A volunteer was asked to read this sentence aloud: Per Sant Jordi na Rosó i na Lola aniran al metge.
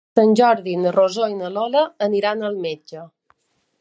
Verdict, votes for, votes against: rejected, 0, 2